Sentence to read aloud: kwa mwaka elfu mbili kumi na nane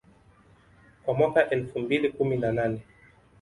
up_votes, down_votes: 2, 0